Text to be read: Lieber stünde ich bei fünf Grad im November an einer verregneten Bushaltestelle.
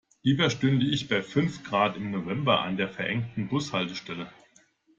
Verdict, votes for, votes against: rejected, 0, 2